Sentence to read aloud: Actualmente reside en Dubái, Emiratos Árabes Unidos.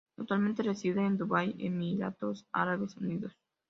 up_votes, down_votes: 2, 0